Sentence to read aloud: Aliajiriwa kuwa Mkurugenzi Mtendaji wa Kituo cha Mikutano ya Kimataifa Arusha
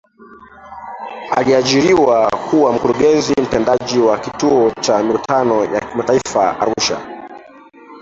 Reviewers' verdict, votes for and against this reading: rejected, 1, 2